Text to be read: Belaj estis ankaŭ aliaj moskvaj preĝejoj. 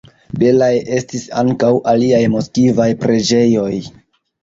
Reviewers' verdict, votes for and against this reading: rejected, 0, 2